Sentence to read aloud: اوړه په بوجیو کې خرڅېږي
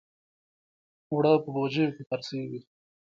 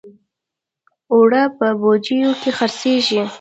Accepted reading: first